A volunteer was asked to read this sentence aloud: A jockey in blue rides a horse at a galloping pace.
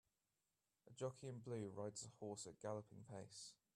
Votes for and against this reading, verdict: 1, 2, rejected